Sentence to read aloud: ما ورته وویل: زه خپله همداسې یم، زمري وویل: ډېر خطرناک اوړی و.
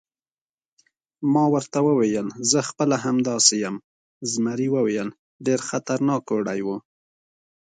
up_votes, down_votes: 2, 0